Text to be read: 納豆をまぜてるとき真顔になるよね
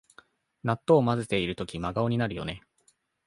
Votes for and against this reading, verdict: 2, 0, accepted